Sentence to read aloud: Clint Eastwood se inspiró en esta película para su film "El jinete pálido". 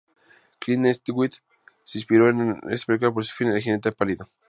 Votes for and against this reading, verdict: 2, 2, rejected